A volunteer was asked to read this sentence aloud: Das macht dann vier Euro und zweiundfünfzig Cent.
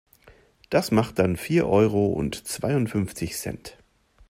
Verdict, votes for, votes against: accepted, 2, 0